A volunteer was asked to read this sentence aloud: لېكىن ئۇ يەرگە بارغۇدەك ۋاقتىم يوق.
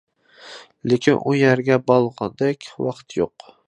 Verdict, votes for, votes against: rejected, 0, 2